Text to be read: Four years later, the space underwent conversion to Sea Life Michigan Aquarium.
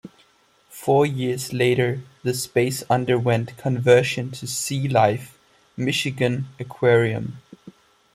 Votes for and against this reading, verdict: 2, 0, accepted